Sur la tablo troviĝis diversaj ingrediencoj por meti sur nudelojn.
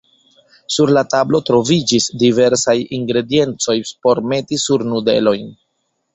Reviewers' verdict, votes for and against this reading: accepted, 2, 0